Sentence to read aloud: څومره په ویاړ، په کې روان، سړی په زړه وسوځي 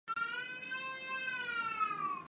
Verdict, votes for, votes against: rejected, 1, 2